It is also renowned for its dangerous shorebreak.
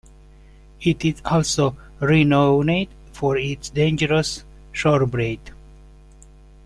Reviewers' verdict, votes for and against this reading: accepted, 2, 0